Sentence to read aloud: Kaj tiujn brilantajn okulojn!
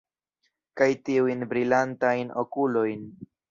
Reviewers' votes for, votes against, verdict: 1, 2, rejected